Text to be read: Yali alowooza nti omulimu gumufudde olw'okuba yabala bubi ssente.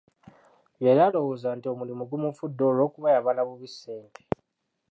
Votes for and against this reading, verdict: 1, 2, rejected